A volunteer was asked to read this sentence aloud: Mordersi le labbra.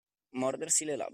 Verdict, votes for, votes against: rejected, 0, 2